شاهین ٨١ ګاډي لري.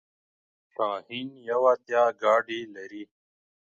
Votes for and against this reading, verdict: 0, 2, rejected